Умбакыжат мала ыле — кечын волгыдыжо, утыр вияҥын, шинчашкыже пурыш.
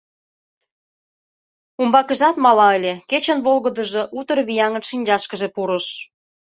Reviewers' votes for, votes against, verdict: 2, 0, accepted